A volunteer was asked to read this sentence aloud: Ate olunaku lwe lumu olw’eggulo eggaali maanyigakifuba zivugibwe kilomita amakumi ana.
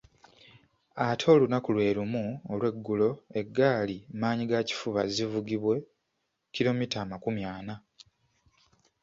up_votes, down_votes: 2, 0